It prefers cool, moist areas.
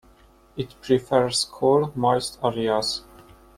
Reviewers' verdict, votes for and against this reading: rejected, 0, 2